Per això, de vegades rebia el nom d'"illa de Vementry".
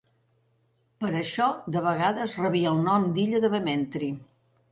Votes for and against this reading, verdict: 2, 0, accepted